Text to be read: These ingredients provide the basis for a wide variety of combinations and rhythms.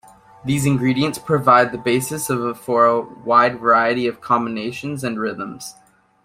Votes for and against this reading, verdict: 0, 2, rejected